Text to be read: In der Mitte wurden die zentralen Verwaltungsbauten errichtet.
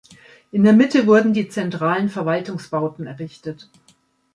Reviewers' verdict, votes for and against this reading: accepted, 2, 0